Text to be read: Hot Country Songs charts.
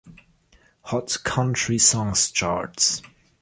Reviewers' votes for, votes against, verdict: 0, 2, rejected